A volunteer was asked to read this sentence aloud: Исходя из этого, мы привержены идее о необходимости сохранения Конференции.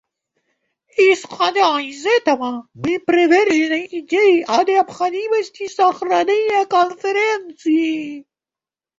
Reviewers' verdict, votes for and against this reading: rejected, 1, 2